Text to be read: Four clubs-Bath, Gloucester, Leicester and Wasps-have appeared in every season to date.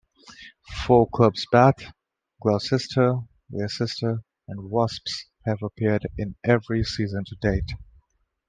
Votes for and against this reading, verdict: 1, 2, rejected